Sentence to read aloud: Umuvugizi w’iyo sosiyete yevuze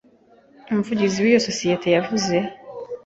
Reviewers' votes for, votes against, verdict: 2, 3, rejected